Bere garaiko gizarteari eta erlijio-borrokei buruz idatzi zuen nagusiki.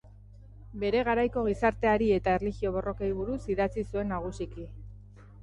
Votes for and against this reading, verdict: 2, 0, accepted